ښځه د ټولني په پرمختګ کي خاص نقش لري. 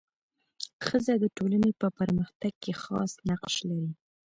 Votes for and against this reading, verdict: 2, 0, accepted